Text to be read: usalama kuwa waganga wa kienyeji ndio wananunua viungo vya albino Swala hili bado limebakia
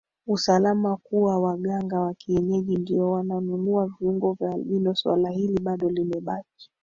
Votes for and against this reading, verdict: 2, 3, rejected